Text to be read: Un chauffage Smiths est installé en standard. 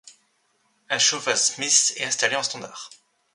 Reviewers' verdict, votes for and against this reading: accepted, 2, 1